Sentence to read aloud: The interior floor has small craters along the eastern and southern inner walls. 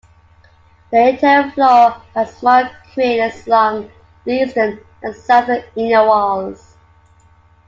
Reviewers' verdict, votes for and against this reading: rejected, 1, 2